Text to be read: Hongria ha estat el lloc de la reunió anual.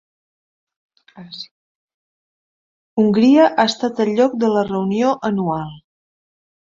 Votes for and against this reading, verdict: 1, 2, rejected